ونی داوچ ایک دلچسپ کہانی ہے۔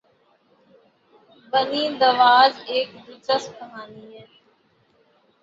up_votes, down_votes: 3, 0